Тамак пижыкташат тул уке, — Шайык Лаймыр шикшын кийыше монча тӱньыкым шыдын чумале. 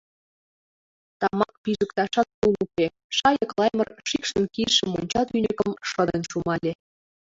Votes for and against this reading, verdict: 0, 2, rejected